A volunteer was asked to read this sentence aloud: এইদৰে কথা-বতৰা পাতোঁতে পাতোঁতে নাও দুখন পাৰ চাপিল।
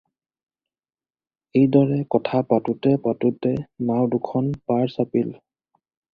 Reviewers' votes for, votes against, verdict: 0, 4, rejected